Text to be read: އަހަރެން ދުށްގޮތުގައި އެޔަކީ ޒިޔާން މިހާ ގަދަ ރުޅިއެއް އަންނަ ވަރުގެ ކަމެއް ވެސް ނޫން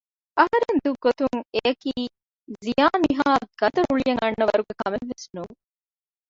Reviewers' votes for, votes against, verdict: 1, 2, rejected